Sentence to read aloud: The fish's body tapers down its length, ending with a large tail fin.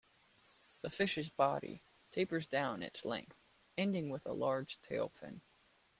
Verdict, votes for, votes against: accepted, 2, 0